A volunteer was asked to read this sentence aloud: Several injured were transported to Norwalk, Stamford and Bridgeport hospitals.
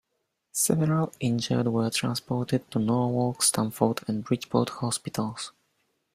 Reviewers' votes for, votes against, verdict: 2, 1, accepted